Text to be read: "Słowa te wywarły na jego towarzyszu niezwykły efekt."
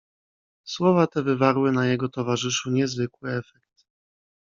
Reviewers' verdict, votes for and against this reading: rejected, 0, 2